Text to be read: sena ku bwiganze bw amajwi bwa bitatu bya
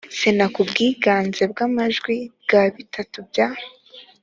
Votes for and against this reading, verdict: 2, 0, accepted